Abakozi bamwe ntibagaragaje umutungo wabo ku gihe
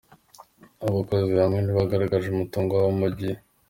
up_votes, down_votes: 2, 1